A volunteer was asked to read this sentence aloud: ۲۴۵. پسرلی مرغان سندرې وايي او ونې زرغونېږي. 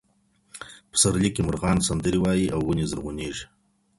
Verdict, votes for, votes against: rejected, 0, 2